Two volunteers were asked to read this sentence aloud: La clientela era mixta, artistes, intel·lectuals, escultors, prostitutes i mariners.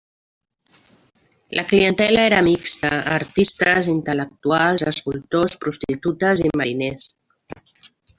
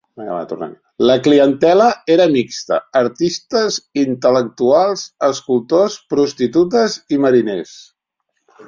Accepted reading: first